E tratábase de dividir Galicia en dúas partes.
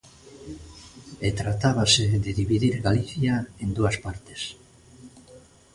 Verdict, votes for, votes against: rejected, 1, 2